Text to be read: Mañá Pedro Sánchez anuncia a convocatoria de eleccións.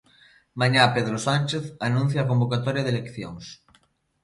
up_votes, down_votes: 2, 0